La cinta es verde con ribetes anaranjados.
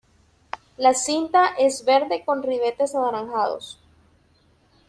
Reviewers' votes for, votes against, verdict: 2, 0, accepted